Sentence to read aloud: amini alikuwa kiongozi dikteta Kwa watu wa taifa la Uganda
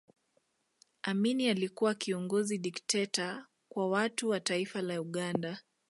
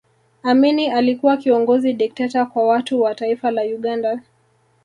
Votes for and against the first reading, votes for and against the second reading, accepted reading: 2, 0, 1, 2, first